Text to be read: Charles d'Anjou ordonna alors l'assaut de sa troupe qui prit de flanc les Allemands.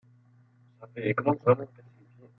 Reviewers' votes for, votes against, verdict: 0, 2, rejected